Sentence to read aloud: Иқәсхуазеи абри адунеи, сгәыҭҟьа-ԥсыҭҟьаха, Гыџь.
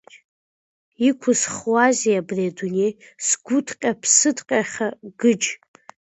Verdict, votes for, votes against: accepted, 2, 1